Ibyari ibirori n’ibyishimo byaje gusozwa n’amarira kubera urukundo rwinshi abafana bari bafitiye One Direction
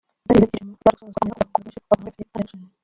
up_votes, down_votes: 0, 2